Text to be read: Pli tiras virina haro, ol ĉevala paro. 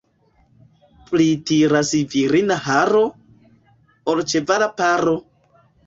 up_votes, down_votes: 2, 1